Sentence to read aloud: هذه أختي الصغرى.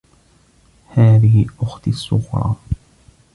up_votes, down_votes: 2, 0